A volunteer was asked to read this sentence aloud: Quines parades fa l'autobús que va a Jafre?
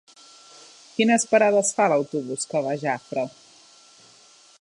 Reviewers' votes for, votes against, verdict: 3, 0, accepted